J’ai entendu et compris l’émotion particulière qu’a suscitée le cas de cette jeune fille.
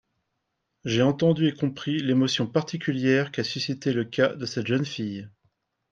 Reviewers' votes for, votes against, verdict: 2, 0, accepted